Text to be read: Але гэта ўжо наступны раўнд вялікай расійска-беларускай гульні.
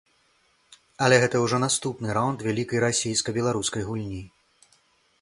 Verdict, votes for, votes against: accepted, 2, 0